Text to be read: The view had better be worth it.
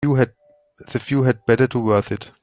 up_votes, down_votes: 0, 3